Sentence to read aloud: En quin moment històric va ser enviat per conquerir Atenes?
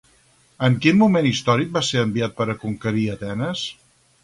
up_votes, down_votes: 0, 2